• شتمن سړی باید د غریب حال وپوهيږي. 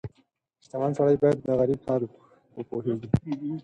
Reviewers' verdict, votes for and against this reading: accepted, 4, 0